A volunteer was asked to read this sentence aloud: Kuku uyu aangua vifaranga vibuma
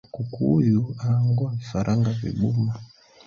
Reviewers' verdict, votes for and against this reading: rejected, 0, 2